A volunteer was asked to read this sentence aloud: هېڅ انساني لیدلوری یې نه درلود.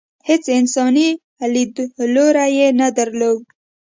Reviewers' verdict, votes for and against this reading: accepted, 2, 0